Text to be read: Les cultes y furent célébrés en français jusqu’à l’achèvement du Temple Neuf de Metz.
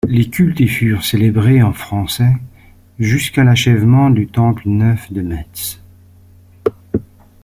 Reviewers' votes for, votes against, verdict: 2, 1, accepted